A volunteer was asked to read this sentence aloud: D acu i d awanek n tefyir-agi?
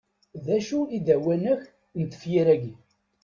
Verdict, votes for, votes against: accepted, 2, 0